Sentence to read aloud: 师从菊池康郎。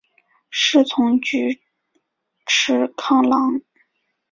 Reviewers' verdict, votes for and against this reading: accepted, 3, 1